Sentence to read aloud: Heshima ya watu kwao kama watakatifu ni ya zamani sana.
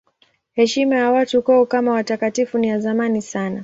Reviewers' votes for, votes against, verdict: 9, 0, accepted